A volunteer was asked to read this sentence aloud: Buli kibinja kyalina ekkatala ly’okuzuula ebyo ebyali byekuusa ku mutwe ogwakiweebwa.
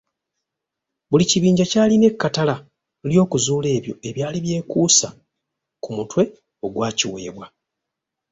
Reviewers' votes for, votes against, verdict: 2, 0, accepted